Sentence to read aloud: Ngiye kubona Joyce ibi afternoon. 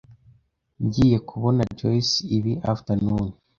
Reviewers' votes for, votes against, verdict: 2, 0, accepted